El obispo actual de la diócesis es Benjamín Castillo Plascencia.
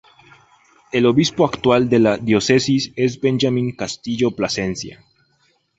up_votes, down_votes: 8, 2